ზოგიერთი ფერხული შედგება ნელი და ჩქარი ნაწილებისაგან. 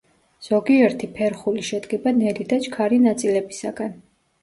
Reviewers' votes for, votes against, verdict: 2, 0, accepted